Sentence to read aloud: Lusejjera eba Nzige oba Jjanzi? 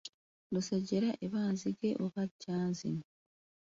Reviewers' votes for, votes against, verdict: 2, 0, accepted